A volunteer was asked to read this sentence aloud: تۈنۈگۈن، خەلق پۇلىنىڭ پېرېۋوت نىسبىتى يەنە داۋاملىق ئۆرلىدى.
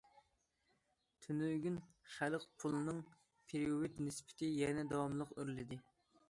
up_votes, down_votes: 1, 2